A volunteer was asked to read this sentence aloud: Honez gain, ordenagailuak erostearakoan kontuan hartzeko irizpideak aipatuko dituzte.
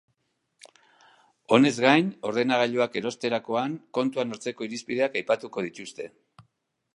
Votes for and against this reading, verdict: 1, 2, rejected